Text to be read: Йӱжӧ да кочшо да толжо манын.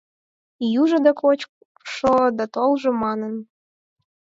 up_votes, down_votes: 4, 0